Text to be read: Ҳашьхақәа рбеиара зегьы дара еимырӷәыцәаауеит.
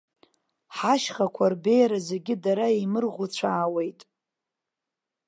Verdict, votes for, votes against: rejected, 0, 2